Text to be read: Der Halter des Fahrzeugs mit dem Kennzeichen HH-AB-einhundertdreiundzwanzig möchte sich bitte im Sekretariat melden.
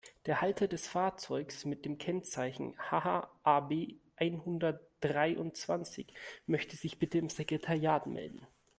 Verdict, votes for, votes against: accepted, 2, 0